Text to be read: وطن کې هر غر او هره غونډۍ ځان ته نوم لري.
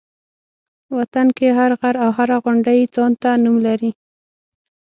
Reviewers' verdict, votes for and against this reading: accepted, 6, 0